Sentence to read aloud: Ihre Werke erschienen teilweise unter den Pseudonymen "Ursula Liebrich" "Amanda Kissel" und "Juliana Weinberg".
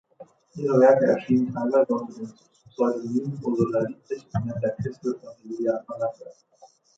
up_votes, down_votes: 0, 2